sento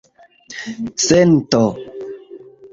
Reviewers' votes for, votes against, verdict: 2, 1, accepted